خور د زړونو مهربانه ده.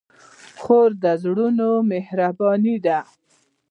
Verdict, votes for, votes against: rejected, 0, 2